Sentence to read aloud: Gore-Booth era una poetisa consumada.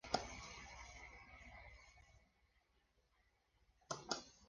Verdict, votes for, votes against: rejected, 0, 3